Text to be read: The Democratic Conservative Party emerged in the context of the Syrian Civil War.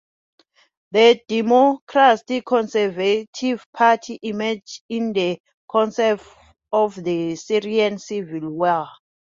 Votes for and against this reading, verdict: 0, 2, rejected